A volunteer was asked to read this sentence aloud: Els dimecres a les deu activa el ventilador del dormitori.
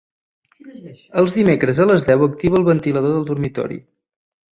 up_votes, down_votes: 4, 0